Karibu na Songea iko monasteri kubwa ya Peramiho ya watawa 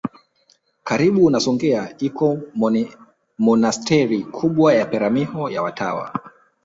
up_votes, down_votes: 0, 2